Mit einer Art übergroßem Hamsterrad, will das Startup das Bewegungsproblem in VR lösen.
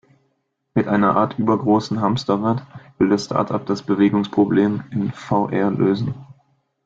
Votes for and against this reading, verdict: 2, 1, accepted